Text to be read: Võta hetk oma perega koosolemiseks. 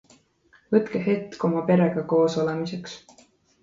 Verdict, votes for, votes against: rejected, 0, 2